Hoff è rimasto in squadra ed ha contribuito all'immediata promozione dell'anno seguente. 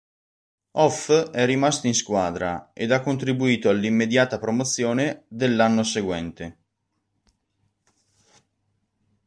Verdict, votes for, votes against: rejected, 1, 2